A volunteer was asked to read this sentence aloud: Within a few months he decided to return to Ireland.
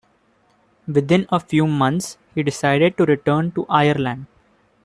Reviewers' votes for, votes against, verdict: 2, 0, accepted